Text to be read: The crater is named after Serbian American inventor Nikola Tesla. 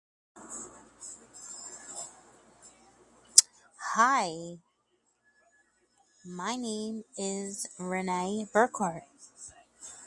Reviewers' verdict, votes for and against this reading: rejected, 0, 4